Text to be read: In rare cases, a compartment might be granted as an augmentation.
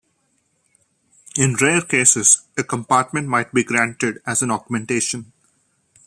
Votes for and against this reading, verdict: 2, 0, accepted